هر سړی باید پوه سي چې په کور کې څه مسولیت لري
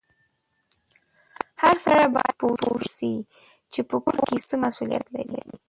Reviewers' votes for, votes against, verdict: 0, 2, rejected